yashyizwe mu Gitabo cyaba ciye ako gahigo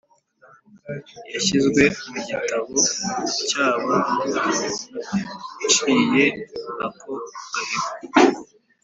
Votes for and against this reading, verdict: 3, 0, accepted